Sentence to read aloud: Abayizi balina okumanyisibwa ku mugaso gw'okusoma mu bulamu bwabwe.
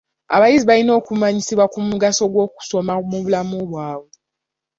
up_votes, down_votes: 2, 0